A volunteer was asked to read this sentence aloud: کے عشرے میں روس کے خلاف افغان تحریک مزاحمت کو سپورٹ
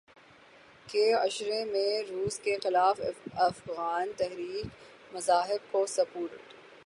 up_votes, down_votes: 3, 3